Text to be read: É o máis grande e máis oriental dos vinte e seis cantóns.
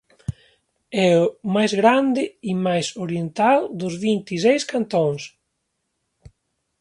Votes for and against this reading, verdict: 1, 2, rejected